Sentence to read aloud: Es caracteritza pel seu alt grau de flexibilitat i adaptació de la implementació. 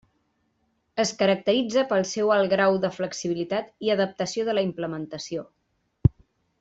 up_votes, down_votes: 3, 0